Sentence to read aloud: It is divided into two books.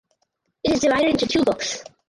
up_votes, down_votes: 2, 4